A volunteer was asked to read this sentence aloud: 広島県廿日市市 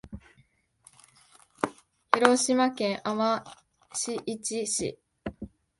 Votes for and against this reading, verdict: 1, 2, rejected